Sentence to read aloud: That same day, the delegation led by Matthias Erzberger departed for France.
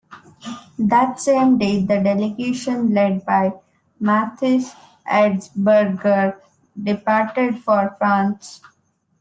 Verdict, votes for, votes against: rejected, 0, 2